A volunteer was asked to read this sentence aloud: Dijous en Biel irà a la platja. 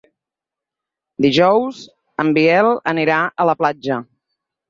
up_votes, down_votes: 0, 4